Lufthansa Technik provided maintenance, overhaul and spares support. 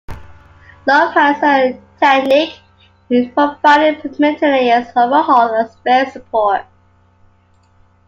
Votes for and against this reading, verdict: 0, 2, rejected